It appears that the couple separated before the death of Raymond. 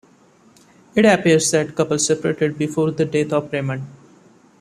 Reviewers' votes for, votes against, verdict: 1, 2, rejected